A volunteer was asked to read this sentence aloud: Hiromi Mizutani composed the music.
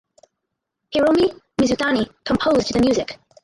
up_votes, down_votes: 2, 2